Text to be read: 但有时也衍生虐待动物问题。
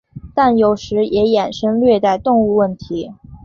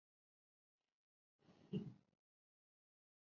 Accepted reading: first